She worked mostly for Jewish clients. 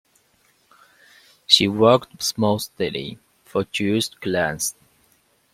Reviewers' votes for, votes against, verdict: 2, 0, accepted